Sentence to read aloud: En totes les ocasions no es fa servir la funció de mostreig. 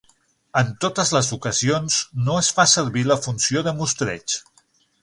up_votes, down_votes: 6, 0